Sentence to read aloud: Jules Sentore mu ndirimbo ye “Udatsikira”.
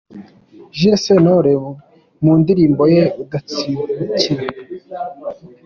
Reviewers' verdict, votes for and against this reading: accepted, 2, 0